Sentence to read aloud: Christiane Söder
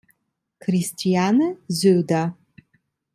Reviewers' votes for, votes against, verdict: 2, 0, accepted